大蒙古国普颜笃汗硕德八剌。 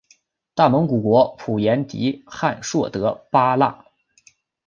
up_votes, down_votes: 4, 1